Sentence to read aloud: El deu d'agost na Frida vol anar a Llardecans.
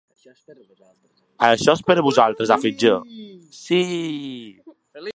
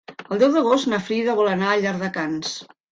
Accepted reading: second